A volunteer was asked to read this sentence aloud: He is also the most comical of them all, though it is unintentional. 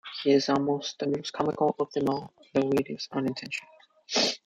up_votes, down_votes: 0, 2